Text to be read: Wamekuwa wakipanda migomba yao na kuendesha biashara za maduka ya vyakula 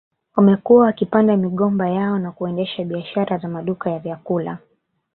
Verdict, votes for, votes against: rejected, 1, 2